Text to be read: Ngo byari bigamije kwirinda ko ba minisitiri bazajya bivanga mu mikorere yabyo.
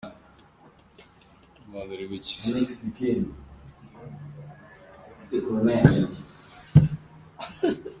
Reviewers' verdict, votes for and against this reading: rejected, 0, 2